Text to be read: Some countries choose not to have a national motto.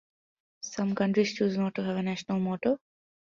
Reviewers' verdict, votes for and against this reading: accepted, 2, 0